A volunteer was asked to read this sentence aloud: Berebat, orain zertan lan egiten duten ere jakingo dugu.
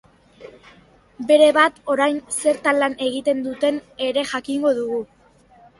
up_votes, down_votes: 3, 0